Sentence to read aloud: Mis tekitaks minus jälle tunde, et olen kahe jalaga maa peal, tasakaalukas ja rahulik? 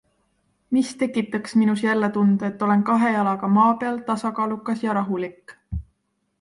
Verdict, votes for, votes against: accepted, 2, 0